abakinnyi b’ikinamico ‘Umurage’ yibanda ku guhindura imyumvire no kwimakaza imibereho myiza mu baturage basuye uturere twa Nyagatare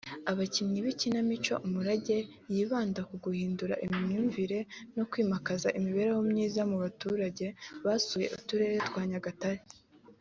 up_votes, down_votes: 5, 0